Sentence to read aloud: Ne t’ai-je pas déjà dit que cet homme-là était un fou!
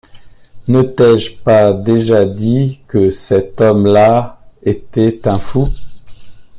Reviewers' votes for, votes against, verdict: 2, 0, accepted